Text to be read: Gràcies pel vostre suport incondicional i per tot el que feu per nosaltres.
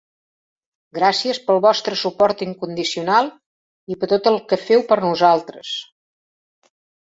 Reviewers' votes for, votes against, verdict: 2, 0, accepted